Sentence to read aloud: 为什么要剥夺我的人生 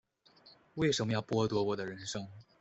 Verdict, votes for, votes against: rejected, 1, 2